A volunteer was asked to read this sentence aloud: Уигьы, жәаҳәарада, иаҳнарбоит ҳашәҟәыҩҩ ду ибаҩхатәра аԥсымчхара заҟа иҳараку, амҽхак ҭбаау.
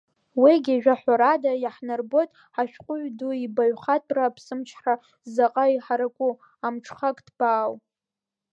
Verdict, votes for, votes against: rejected, 1, 2